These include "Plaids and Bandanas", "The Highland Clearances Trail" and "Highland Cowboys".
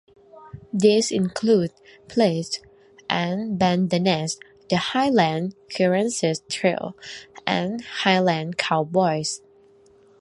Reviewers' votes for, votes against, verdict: 2, 1, accepted